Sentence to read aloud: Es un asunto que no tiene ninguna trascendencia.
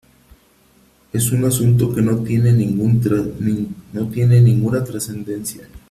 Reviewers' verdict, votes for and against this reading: rejected, 0, 3